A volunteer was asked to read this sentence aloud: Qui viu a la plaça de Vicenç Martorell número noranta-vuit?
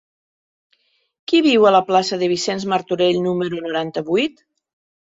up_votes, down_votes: 3, 0